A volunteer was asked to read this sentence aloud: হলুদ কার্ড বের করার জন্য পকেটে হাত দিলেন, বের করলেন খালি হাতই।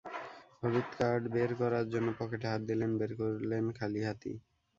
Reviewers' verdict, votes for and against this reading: rejected, 0, 2